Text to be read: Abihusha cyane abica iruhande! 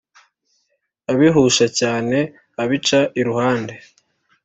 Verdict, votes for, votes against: accepted, 3, 0